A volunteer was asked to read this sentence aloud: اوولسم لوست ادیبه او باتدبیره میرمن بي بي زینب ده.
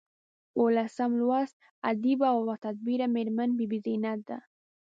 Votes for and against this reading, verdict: 2, 0, accepted